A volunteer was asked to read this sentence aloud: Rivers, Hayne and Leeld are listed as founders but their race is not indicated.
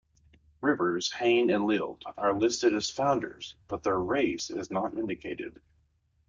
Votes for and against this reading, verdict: 2, 0, accepted